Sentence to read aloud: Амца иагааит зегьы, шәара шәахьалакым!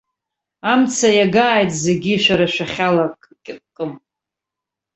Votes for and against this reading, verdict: 0, 2, rejected